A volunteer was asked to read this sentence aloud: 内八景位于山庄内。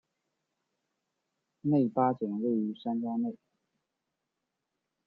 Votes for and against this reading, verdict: 2, 1, accepted